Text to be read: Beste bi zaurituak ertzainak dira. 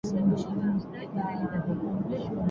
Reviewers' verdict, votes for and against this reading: rejected, 0, 6